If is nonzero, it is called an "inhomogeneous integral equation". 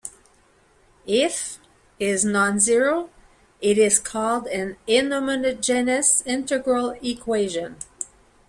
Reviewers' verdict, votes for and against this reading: rejected, 0, 2